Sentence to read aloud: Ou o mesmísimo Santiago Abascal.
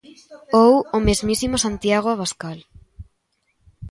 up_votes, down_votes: 1, 2